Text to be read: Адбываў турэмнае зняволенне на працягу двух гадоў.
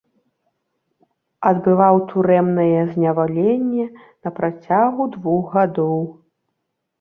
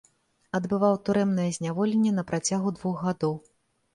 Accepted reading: second